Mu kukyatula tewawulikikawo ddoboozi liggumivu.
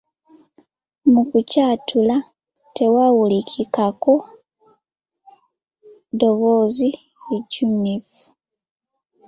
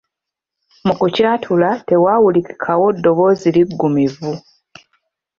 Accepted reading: second